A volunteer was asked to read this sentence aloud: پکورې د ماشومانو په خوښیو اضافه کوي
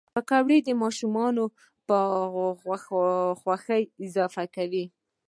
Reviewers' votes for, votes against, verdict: 2, 0, accepted